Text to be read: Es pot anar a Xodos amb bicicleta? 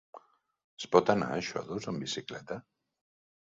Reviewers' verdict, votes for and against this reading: rejected, 1, 2